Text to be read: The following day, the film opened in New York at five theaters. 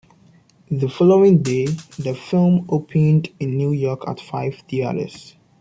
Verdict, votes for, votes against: rejected, 1, 2